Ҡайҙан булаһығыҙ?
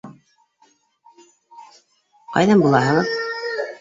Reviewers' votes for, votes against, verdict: 1, 2, rejected